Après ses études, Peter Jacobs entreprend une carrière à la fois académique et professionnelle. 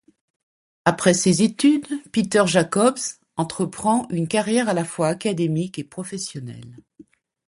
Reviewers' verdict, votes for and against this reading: accepted, 2, 0